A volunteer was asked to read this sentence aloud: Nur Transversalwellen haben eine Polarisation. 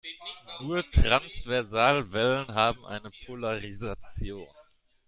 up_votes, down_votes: 1, 2